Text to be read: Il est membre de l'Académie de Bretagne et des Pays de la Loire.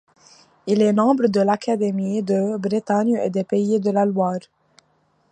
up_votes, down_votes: 2, 0